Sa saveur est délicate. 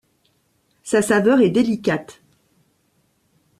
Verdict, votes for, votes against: accepted, 2, 0